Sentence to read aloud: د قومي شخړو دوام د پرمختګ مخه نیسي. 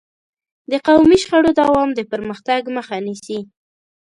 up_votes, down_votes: 2, 0